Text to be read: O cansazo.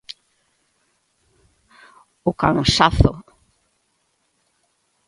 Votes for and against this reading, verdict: 2, 0, accepted